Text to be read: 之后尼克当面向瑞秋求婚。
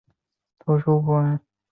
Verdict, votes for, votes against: rejected, 2, 4